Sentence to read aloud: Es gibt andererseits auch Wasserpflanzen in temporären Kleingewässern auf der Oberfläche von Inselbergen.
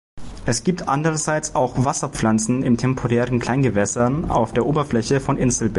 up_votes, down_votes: 0, 2